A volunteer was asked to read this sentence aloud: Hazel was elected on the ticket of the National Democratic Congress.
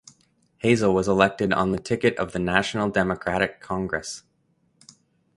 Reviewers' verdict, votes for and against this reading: accepted, 3, 0